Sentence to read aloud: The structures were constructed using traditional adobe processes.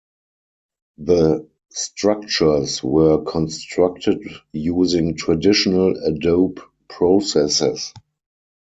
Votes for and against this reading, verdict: 2, 4, rejected